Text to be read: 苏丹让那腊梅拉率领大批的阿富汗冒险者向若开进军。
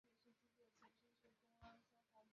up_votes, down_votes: 0, 5